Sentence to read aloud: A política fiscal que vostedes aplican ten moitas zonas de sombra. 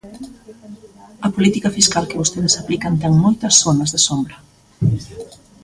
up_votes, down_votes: 2, 0